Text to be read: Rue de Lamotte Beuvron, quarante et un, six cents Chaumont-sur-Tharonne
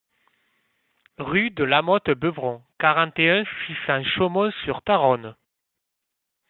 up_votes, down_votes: 2, 0